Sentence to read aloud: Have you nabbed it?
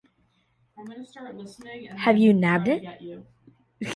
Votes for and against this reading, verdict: 1, 2, rejected